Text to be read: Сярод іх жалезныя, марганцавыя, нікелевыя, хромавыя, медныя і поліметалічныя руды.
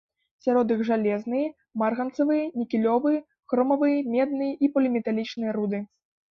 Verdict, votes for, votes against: rejected, 1, 2